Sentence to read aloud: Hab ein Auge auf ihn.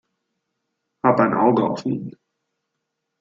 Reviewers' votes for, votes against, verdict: 2, 0, accepted